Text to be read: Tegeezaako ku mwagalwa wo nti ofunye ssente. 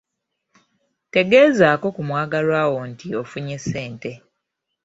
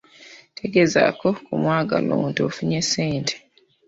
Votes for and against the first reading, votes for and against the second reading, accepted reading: 2, 1, 0, 2, first